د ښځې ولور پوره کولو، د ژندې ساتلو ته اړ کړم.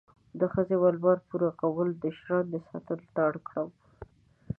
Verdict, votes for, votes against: rejected, 0, 2